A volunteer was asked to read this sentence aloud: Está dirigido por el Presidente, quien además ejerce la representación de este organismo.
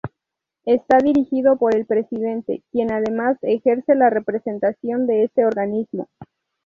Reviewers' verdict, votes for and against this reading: rejected, 2, 2